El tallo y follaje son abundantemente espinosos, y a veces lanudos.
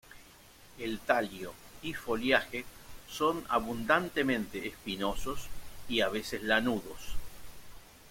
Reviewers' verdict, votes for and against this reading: rejected, 1, 2